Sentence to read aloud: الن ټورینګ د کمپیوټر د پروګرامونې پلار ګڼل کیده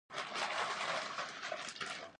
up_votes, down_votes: 0, 2